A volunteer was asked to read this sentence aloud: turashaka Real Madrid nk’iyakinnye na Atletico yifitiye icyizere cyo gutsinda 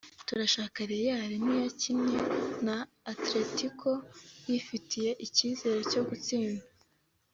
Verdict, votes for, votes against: accepted, 2, 0